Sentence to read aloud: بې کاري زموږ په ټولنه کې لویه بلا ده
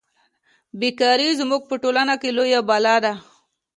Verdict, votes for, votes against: accepted, 2, 0